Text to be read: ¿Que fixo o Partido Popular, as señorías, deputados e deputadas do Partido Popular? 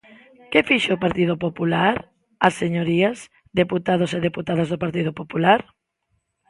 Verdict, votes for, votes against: accepted, 2, 0